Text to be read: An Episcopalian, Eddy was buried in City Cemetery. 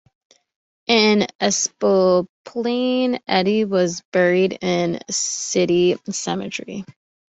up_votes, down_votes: 0, 2